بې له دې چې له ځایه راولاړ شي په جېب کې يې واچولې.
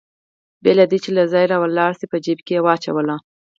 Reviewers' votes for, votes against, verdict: 4, 2, accepted